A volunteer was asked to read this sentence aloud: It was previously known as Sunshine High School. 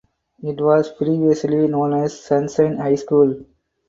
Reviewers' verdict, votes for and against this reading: rejected, 2, 2